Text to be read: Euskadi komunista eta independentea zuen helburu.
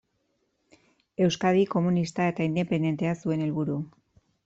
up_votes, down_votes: 2, 0